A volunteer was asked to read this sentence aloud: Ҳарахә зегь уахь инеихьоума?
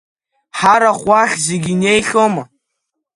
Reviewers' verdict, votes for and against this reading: rejected, 1, 2